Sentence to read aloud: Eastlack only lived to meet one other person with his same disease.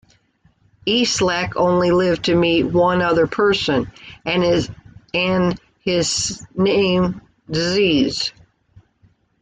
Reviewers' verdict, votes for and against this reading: rejected, 0, 2